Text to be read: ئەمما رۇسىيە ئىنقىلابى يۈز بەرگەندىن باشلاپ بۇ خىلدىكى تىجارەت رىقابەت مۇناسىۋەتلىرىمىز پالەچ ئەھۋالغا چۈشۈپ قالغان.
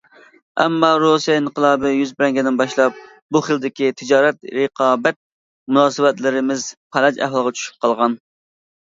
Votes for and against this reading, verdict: 1, 2, rejected